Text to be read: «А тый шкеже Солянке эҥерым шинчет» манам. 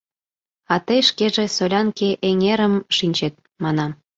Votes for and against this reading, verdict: 2, 0, accepted